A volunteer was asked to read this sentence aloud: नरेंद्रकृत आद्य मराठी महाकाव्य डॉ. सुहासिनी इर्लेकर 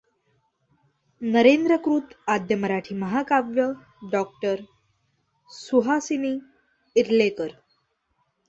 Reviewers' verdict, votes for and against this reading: rejected, 0, 2